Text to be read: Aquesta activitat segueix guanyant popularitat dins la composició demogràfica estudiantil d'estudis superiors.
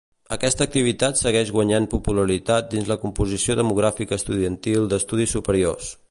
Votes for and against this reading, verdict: 2, 0, accepted